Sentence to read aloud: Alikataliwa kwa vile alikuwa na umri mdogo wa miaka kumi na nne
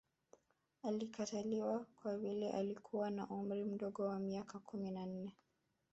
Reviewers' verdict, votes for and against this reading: rejected, 0, 2